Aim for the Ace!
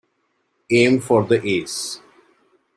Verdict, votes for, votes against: accepted, 2, 0